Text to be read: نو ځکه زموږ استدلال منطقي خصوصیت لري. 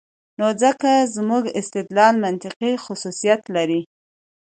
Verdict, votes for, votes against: accepted, 2, 0